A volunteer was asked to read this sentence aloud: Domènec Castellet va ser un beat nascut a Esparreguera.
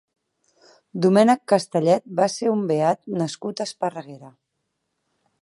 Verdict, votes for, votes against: accepted, 4, 0